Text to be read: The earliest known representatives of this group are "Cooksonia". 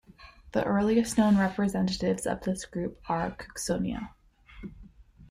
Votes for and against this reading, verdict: 2, 0, accepted